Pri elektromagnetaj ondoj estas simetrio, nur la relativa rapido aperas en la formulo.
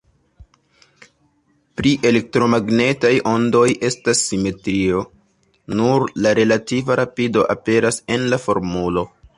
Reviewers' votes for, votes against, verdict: 1, 2, rejected